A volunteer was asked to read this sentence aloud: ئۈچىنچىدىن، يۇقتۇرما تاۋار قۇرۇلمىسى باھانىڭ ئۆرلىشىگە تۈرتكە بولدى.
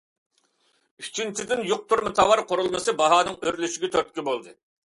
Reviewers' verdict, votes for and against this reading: accepted, 2, 0